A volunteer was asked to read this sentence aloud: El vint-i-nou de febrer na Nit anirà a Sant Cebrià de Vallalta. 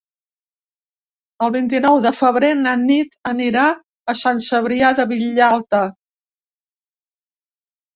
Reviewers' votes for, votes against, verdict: 0, 2, rejected